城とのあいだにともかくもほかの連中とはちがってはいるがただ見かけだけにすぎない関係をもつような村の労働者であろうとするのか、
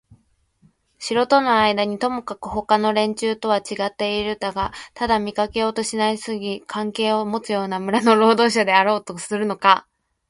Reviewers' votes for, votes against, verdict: 2, 1, accepted